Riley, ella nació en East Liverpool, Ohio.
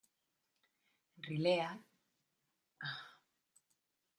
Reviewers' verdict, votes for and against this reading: rejected, 0, 2